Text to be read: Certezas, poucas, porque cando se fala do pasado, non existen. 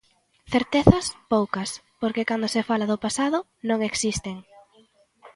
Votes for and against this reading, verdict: 2, 0, accepted